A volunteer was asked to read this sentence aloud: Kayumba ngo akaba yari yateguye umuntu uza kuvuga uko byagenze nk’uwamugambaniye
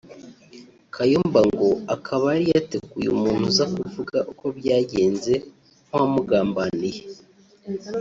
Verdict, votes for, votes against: accepted, 2, 1